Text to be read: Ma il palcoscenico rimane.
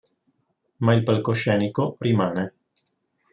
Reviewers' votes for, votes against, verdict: 4, 0, accepted